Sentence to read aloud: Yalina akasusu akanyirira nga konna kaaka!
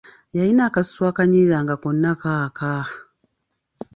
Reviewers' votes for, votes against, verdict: 2, 0, accepted